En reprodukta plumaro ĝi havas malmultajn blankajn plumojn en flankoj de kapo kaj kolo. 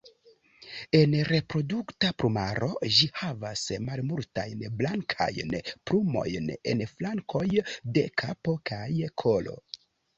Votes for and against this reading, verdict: 2, 3, rejected